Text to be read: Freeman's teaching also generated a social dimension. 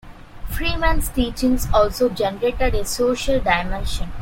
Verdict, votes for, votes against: rejected, 1, 2